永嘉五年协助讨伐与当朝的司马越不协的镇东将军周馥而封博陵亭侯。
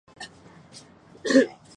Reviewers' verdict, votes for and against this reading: rejected, 1, 2